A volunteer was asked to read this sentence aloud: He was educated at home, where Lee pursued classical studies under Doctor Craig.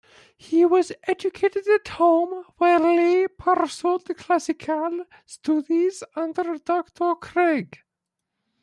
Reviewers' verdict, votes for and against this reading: rejected, 0, 2